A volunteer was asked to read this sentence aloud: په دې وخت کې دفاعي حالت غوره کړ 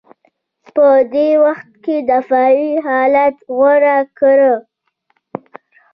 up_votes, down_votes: 3, 0